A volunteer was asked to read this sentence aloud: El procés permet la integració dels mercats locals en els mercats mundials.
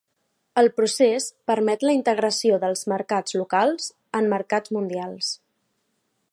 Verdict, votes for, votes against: rejected, 1, 2